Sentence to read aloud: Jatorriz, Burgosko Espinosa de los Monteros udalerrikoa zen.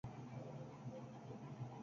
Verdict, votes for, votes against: rejected, 0, 6